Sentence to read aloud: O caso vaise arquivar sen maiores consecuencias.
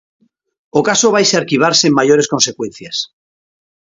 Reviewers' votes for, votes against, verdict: 2, 0, accepted